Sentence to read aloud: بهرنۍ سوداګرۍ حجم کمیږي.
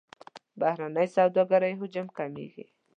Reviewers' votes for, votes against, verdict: 2, 0, accepted